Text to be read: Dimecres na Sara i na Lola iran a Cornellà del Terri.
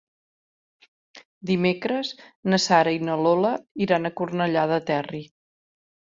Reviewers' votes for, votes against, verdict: 1, 3, rejected